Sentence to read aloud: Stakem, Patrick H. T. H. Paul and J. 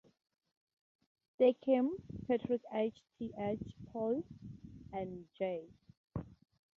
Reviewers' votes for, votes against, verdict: 2, 0, accepted